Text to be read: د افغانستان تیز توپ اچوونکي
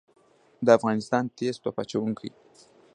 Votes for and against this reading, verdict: 0, 2, rejected